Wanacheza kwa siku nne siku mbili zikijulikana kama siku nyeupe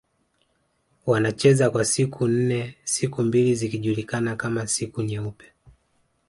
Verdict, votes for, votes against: rejected, 0, 2